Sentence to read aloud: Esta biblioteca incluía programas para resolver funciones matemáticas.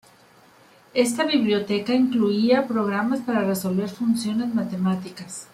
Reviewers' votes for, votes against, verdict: 2, 0, accepted